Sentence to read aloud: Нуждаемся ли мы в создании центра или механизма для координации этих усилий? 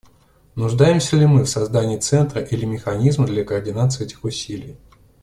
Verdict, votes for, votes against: accepted, 2, 0